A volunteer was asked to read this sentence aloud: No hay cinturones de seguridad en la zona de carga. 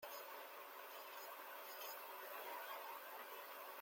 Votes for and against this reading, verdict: 0, 2, rejected